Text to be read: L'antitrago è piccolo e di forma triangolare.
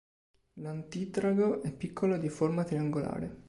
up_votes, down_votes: 2, 0